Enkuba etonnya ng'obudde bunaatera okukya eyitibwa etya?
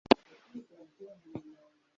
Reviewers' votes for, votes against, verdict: 1, 2, rejected